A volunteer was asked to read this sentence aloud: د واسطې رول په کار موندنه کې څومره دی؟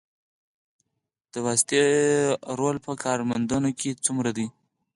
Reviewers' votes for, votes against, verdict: 4, 2, accepted